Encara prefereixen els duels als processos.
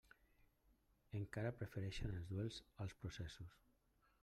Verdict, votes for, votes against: rejected, 1, 2